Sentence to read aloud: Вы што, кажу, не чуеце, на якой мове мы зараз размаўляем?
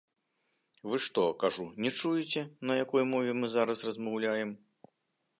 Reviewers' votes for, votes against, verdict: 2, 1, accepted